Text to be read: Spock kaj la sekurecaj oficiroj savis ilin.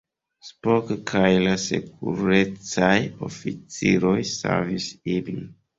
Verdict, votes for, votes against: rejected, 0, 2